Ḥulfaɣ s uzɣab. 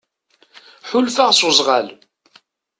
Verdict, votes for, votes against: rejected, 0, 2